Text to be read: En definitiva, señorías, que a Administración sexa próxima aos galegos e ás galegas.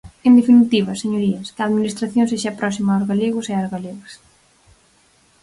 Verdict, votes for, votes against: accepted, 4, 0